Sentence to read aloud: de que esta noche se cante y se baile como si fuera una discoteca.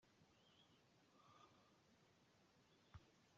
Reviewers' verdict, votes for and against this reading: rejected, 0, 2